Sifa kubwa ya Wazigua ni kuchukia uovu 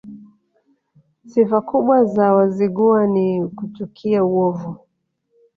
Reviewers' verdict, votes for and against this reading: accepted, 2, 1